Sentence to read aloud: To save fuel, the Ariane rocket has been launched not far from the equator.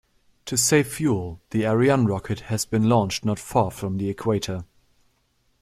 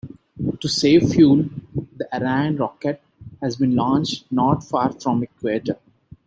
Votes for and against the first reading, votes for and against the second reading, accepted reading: 2, 0, 1, 2, first